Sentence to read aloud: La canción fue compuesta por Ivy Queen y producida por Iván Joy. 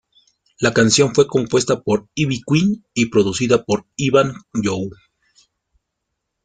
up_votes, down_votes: 1, 2